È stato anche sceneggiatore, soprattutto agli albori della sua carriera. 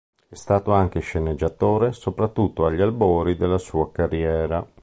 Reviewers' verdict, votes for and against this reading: accepted, 2, 0